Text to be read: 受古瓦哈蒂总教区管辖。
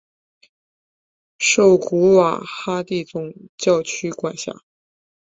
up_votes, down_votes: 5, 0